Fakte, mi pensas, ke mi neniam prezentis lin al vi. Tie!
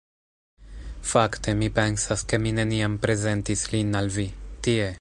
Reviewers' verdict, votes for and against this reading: accepted, 3, 0